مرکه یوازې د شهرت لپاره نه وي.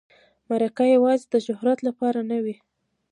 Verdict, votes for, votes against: rejected, 0, 2